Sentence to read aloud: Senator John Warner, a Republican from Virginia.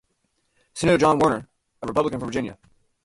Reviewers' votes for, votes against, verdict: 2, 0, accepted